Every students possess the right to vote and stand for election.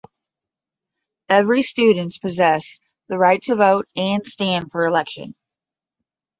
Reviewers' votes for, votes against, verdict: 10, 0, accepted